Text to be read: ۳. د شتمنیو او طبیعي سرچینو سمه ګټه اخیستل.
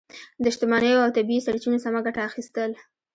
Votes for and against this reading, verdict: 0, 2, rejected